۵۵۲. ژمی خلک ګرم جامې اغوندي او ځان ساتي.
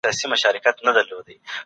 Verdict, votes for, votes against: rejected, 0, 2